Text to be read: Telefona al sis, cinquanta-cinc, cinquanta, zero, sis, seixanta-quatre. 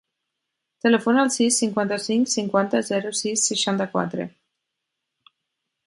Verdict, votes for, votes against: accepted, 6, 0